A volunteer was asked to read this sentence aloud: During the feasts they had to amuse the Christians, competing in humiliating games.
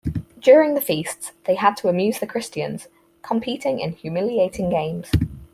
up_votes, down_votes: 4, 0